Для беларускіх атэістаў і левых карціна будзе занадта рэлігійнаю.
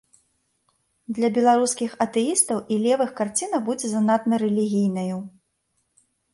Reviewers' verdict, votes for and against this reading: rejected, 0, 2